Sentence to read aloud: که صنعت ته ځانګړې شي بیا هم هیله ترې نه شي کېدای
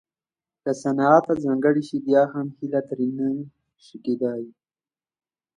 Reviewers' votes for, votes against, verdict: 2, 0, accepted